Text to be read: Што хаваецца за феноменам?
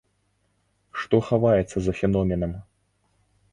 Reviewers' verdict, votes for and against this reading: accepted, 2, 0